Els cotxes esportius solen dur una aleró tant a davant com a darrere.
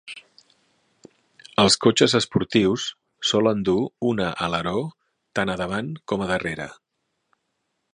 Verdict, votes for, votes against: accepted, 6, 0